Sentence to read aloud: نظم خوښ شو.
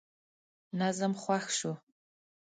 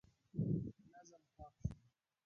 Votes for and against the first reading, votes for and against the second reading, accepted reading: 2, 0, 1, 2, first